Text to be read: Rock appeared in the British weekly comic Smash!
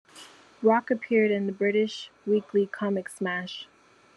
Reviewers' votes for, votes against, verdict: 2, 0, accepted